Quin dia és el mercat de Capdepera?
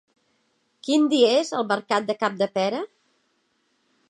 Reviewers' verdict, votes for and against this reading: accepted, 2, 0